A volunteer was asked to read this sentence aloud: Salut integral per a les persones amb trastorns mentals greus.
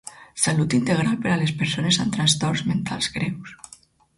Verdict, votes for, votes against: accepted, 4, 0